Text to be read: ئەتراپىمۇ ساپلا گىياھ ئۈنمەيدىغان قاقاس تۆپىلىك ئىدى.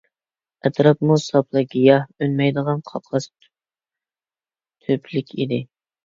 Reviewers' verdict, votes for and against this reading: rejected, 0, 2